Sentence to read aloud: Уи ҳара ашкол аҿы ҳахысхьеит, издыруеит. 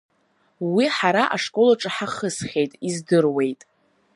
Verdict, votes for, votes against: accepted, 2, 0